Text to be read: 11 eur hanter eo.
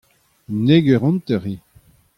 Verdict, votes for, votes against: rejected, 0, 2